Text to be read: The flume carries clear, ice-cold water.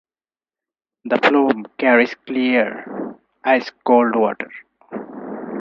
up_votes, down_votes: 4, 0